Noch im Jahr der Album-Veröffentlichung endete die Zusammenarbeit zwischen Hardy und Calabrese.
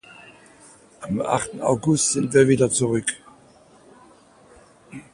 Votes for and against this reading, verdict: 0, 2, rejected